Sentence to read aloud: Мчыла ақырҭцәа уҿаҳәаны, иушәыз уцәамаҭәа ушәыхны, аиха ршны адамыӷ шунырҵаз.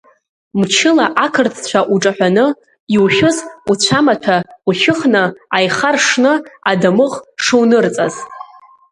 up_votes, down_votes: 1, 2